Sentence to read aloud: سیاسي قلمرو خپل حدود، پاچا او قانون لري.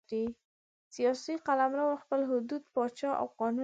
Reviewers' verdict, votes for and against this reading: accepted, 2, 0